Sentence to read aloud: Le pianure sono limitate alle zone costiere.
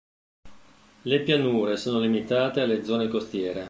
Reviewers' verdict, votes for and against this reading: accepted, 2, 0